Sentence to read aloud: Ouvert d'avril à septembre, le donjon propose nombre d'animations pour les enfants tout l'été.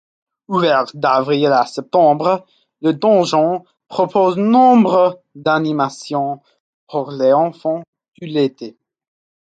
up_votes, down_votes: 2, 0